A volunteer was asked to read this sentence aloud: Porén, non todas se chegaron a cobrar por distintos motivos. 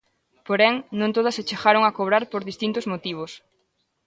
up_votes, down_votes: 2, 0